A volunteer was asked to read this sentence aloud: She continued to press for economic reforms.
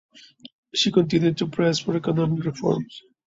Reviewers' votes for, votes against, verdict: 2, 0, accepted